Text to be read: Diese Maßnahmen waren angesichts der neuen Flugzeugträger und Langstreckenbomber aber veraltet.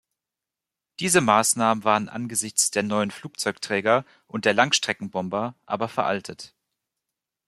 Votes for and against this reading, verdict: 1, 2, rejected